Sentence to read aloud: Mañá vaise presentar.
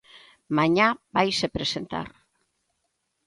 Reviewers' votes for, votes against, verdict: 2, 0, accepted